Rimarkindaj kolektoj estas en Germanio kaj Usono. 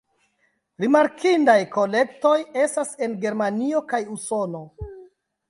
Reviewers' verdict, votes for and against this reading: rejected, 1, 2